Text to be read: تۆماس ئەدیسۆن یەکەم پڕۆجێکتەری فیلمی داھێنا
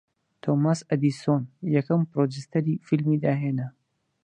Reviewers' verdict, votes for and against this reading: rejected, 0, 4